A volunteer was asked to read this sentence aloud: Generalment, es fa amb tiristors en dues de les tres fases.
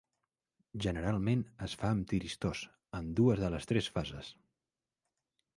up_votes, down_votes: 2, 0